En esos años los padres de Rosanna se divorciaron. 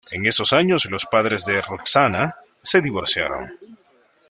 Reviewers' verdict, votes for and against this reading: rejected, 0, 2